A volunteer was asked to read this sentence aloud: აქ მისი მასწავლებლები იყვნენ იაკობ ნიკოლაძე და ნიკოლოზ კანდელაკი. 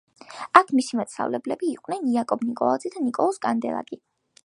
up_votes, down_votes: 2, 0